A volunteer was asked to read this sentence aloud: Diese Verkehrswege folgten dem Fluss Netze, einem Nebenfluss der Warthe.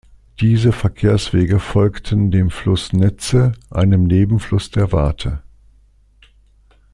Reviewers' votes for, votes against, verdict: 2, 0, accepted